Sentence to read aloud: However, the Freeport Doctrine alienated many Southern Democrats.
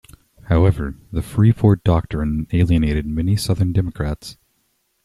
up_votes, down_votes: 2, 0